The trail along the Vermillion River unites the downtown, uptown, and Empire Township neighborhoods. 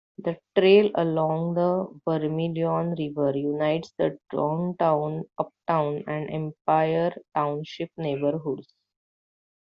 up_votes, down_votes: 1, 2